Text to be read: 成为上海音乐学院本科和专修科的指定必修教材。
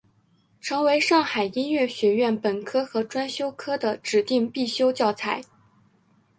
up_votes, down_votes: 3, 2